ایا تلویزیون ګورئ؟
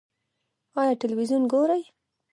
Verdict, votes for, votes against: rejected, 0, 2